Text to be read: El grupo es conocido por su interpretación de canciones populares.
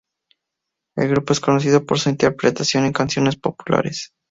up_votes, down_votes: 2, 0